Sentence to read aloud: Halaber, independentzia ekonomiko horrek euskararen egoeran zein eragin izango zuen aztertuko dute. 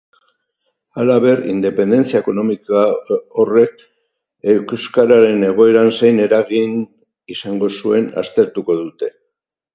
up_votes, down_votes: 2, 4